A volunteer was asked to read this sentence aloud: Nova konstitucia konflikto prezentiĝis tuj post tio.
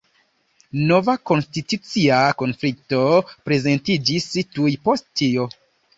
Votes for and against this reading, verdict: 2, 0, accepted